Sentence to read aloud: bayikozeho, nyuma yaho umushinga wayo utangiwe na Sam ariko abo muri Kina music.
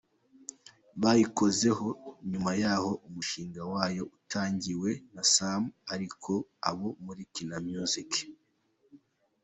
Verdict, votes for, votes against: accepted, 2, 0